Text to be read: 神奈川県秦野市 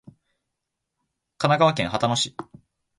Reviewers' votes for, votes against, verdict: 2, 0, accepted